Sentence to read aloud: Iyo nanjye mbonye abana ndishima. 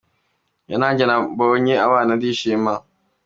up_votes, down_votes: 2, 0